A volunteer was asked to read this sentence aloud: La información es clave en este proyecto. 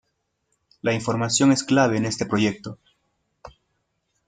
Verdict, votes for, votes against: accepted, 2, 0